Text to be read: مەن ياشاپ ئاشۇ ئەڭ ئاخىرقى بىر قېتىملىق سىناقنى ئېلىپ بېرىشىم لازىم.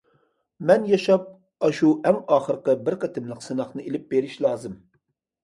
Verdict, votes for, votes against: rejected, 0, 2